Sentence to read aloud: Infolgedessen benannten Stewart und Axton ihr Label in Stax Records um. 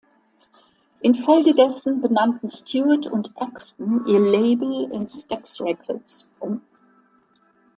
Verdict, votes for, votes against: accepted, 2, 1